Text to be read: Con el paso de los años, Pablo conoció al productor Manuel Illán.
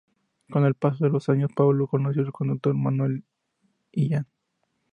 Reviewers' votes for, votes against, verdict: 0, 2, rejected